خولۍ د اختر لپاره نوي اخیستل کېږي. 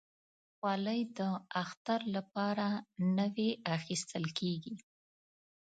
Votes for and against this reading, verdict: 2, 0, accepted